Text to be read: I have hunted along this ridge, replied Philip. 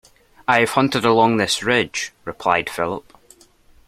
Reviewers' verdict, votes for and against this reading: accepted, 2, 0